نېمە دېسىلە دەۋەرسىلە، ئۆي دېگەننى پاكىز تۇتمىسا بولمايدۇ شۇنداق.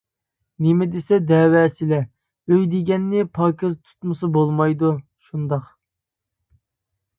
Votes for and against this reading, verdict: 1, 2, rejected